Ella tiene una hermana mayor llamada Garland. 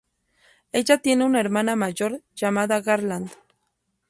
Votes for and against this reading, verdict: 0, 2, rejected